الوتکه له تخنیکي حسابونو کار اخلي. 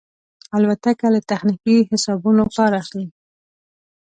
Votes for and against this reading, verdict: 2, 0, accepted